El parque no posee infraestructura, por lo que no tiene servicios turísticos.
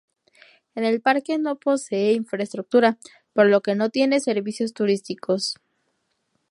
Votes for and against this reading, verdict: 0, 2, rejected